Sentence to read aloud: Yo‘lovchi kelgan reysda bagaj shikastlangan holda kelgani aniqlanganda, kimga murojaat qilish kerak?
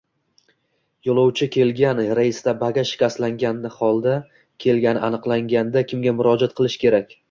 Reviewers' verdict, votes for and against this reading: accepted, 2, 0